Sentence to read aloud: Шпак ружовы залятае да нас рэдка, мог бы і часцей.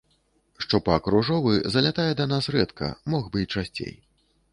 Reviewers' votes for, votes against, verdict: 1, 2, rejected